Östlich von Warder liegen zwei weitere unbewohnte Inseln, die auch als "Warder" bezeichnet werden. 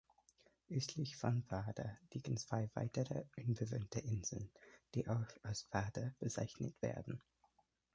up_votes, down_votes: 2, 3